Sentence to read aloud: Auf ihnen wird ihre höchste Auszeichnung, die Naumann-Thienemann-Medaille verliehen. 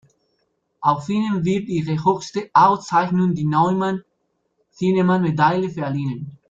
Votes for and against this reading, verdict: 0, 2, rejected